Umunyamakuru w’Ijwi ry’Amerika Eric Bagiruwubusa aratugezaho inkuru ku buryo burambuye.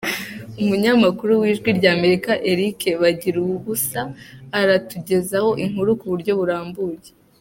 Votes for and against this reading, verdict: 2, 0, accepted